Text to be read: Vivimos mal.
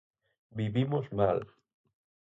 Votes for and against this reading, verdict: 4, 0, accepted